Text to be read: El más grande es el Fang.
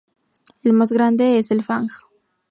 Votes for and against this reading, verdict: 0, 2, rejected